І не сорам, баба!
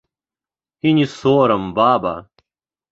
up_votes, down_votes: 2, 0